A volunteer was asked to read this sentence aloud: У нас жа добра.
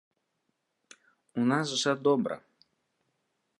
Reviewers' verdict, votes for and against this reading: accepted, 2, 0